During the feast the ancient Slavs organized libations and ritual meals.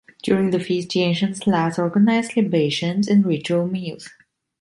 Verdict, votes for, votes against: accepted, 2, 0